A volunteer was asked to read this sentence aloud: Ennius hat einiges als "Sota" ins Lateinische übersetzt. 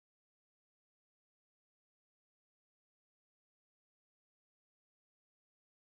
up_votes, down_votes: 0, 4